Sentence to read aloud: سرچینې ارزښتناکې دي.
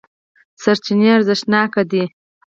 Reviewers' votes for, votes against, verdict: 2, 4, rejected